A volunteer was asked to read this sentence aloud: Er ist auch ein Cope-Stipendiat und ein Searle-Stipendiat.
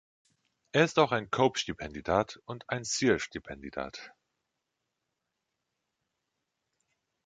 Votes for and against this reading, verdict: 1, 2, rejected